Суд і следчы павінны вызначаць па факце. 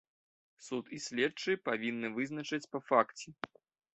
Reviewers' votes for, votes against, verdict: 1, 2, rejected